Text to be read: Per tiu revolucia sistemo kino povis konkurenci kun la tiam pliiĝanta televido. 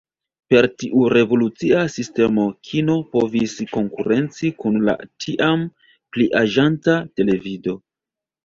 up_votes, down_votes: 1, 2